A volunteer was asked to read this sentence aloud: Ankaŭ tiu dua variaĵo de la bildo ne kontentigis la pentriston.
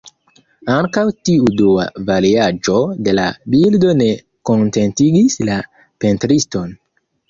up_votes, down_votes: 0, 2